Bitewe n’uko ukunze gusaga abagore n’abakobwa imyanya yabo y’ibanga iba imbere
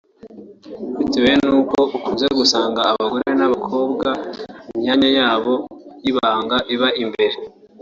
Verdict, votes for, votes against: rejected, 1, 2